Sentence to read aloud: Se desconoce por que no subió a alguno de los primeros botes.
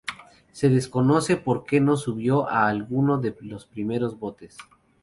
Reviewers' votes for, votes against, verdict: 4, 0, accepted